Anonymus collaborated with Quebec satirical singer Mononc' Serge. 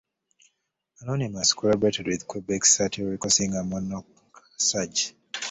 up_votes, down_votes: 2, 1